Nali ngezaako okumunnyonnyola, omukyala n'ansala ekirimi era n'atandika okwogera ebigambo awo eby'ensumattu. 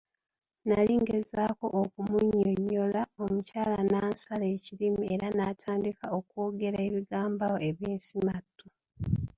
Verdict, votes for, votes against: rejected, 1, 2